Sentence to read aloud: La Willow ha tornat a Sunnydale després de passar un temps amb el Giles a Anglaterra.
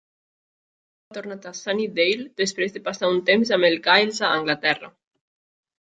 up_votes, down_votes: 0, 2